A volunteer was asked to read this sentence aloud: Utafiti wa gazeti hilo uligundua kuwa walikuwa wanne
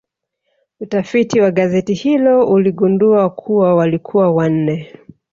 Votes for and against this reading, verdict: 2, 0, accepted